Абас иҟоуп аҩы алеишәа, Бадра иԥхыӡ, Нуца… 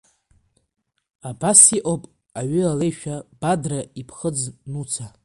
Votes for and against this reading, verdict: 2, 0, accepted